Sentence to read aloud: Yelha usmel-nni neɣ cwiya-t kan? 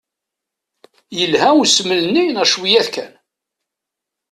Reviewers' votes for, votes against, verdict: 2, 0, accepted